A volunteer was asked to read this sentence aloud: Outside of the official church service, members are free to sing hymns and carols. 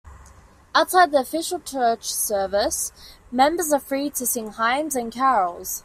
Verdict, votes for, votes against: rejected, 1, 2